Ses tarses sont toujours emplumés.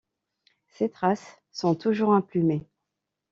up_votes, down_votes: 2, 1